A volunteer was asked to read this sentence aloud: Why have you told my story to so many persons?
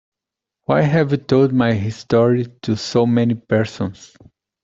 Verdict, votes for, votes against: rejected, 1, 2